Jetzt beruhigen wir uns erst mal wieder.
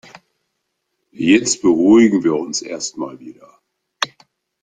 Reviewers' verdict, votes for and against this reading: accepted, 2, 0